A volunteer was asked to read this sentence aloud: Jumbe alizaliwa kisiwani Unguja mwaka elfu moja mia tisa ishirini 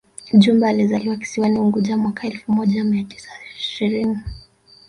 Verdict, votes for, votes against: rejected, 2, 3